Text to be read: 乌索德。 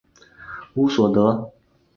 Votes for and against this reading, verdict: 4, 0, accepted